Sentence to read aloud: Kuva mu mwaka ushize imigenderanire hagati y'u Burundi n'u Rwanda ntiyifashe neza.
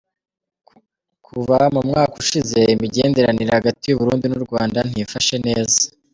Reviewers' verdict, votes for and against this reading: accepted, 2, 1